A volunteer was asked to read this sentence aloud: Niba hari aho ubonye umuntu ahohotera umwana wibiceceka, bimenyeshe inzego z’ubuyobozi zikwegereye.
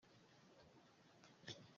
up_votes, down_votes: 0, 2